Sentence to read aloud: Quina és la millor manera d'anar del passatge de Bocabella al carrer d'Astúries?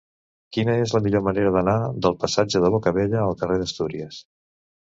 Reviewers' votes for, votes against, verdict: 3, 1, accepted